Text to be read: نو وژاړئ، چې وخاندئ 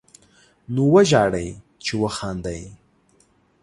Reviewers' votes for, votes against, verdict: 6, 0, accepted